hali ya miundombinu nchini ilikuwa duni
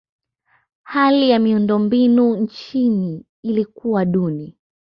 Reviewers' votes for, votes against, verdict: 0, 2, rejected